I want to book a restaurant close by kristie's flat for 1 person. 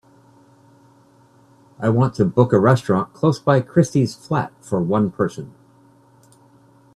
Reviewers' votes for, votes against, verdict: 0, 2, rejected